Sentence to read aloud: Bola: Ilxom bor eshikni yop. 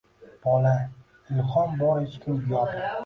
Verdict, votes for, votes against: rejected, 1, 2